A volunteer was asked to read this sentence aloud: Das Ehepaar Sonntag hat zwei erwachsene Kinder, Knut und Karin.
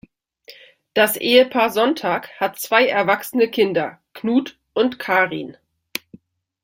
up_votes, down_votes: 2, 0